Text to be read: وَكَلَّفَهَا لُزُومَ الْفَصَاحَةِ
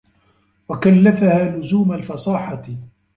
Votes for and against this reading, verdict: 2, 0, accepted